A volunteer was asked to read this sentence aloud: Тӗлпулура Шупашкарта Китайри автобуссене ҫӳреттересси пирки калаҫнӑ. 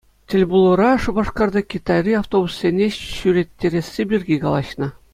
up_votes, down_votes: 2, 0